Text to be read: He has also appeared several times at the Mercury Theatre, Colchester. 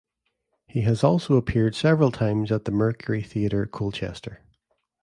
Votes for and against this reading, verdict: 3, 0, accepted